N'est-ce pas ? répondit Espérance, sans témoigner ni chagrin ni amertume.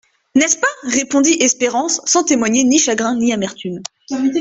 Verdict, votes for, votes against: rejected, 0, 2